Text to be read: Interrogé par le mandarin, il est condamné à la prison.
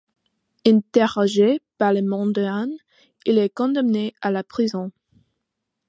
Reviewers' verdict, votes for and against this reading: accepted, 2, 1